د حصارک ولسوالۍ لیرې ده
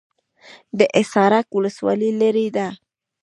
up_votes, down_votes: 2, 0